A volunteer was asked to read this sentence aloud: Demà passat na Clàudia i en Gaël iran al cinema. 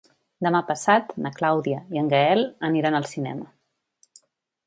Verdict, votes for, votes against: rejected, 0, 2